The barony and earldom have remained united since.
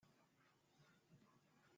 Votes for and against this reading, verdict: 0, 2, rejected